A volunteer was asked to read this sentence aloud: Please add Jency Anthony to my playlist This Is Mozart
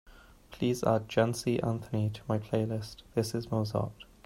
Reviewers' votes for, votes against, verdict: 2, 0, accepted